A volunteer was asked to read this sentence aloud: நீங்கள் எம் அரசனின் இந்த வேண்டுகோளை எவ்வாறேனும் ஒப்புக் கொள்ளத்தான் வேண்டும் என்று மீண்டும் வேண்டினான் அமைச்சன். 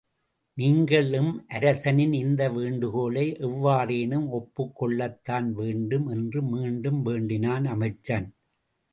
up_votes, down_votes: 2, 0